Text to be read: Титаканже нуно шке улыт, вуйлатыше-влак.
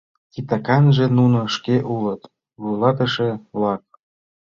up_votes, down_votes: 2, 0